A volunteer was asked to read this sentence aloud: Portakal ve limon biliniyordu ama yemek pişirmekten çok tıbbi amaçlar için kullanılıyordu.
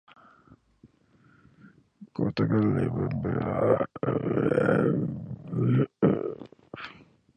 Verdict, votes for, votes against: rejected, 0, 2